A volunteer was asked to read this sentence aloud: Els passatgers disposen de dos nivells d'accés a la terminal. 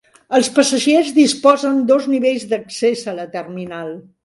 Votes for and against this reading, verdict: 0, 2, rejected